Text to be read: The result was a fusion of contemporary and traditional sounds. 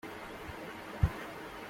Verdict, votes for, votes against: rejected, 0, 2